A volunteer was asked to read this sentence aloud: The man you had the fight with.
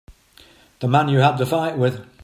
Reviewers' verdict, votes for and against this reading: accepted, 4, 1